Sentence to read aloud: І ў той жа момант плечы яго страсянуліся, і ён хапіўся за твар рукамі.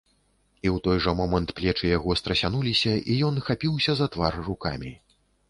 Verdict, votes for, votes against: accepted, 2, 0